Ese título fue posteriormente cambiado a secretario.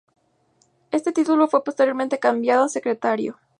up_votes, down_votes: 2, 0